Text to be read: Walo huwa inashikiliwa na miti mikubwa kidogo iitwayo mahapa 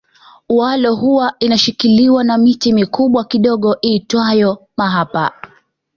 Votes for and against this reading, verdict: 2, 0, accepted